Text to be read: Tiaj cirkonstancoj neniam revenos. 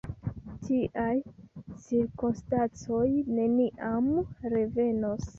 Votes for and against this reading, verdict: 1, 2, rejected